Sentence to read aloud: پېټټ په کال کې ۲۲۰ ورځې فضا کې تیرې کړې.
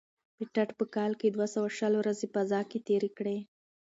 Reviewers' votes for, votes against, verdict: 0, 2, rejected